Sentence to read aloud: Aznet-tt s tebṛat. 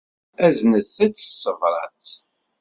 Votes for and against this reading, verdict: 2, 0, accepted